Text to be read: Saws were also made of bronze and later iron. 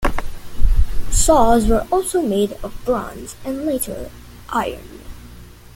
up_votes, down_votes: 2, 0